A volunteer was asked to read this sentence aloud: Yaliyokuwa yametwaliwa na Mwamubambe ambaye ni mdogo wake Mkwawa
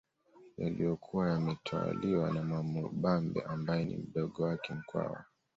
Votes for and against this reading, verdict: 2, 0, accepted